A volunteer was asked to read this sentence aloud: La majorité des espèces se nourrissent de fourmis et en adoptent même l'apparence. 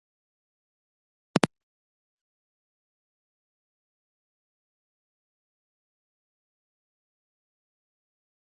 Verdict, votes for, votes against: rejected, 0, 2